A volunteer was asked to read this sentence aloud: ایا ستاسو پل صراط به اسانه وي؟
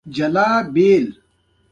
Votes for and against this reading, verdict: 2, 0, accepted